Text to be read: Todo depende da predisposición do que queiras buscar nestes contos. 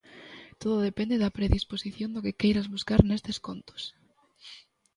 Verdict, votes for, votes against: accepted, 2, 0